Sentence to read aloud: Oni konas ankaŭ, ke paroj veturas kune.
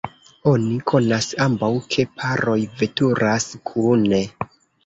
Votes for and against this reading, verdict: 0, 2, rejected